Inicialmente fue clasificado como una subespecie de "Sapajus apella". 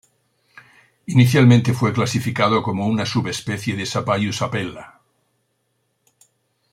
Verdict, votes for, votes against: accepted, 2, 0